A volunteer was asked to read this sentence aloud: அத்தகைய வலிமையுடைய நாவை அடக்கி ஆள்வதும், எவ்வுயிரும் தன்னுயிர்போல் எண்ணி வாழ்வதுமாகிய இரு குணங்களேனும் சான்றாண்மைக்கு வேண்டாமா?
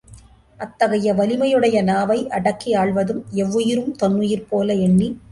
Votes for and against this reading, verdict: 0, 2, rejected